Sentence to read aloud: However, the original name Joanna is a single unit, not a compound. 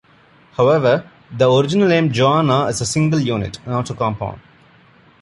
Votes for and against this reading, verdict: 2, 0, accepted